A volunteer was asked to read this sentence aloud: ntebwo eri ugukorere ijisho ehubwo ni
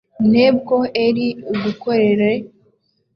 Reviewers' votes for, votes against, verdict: 0, 2, rejected